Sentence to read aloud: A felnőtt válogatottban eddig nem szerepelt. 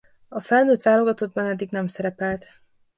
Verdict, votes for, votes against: accepted, 2, 0